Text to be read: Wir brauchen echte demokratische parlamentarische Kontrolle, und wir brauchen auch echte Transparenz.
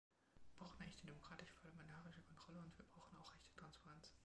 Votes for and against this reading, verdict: 1, 2, rejected